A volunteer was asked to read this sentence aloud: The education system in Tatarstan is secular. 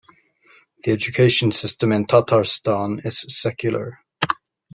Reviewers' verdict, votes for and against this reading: accepted, 2, 1